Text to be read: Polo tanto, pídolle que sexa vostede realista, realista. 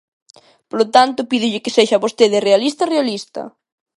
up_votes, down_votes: 2, 0